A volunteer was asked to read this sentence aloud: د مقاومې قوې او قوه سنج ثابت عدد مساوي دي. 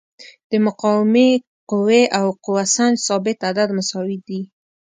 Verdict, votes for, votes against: accepted, 2, 0